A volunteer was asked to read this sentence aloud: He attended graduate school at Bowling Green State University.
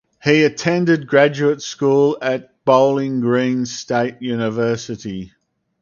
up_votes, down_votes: 4, 0